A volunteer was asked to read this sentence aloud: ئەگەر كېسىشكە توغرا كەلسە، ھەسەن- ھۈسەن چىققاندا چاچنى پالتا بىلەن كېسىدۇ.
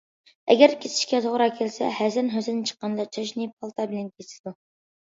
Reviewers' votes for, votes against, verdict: 2, 1, accepted